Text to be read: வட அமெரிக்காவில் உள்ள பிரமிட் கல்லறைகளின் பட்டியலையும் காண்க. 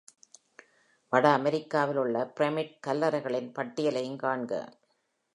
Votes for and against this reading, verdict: 2, 0, accepted